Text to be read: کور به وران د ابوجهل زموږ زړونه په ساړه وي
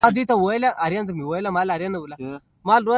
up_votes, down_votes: 2, 0